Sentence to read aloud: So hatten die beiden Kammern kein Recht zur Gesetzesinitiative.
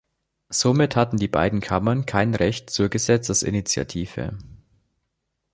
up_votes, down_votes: 1, 2